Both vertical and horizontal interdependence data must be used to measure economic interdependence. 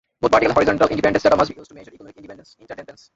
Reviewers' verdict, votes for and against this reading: rejected, 0, 2